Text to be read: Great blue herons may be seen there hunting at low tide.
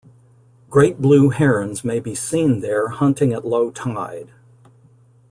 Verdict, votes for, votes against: accepted, 2, 0